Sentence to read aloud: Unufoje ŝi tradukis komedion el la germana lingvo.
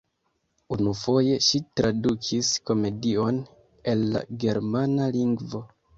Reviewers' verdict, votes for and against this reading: accepted, 2, 1